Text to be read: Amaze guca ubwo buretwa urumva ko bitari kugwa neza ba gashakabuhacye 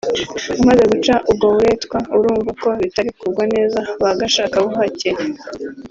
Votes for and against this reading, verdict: 1, 2, rejected